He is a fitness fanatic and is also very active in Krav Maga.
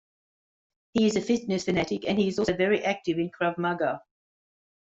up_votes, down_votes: 0, 2